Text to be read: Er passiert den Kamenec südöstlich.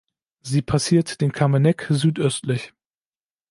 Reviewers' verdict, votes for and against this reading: rejected, 0, 2